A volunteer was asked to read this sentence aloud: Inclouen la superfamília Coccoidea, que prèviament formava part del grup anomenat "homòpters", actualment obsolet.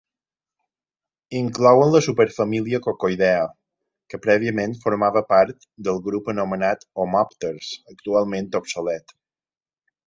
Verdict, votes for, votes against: accepted, 2, 0